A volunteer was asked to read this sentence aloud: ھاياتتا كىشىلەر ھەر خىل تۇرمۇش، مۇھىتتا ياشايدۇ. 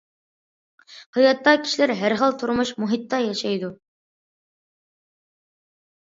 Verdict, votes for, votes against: accepted, 2, 0